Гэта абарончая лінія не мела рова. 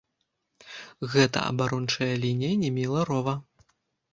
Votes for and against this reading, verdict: 1, 2, rejected